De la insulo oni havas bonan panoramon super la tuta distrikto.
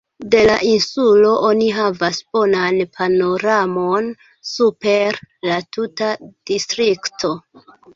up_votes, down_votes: 2, 0